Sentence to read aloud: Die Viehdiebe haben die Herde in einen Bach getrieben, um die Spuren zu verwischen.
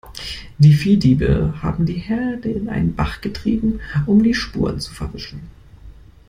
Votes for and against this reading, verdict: 2, 0, accepted